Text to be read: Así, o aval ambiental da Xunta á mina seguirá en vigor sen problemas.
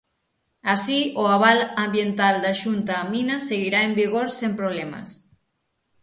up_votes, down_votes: 6, 0